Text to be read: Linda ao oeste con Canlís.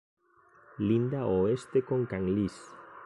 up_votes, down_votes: 2, 0